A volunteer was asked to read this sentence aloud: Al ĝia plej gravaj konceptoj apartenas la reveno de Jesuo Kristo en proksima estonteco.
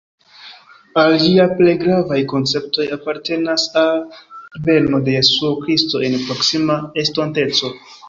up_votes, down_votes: 0, 2